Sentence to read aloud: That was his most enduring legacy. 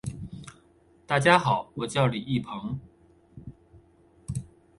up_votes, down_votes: 1, 2